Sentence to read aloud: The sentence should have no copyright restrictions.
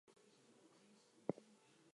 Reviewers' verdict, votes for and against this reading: rejected, 0, 4